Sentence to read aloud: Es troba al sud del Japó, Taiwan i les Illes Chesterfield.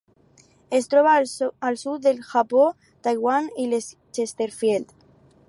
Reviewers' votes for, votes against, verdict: 0, 2, rejected